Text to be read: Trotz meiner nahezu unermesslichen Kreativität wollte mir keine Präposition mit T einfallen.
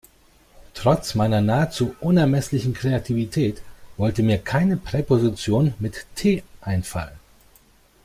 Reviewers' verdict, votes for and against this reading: accepted, 2, 0